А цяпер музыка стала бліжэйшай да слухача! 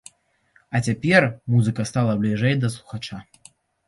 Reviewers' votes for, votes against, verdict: 1, 2, rejected